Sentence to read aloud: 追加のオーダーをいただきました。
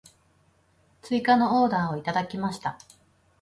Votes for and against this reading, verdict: 2, 0, accepted